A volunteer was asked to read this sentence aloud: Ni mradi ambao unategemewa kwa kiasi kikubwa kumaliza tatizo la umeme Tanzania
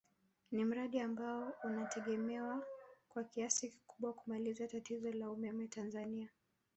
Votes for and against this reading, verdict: 2, 0, accepted